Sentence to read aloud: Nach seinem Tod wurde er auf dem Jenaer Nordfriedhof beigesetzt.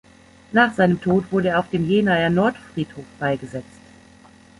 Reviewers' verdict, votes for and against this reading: accepted, 2, 0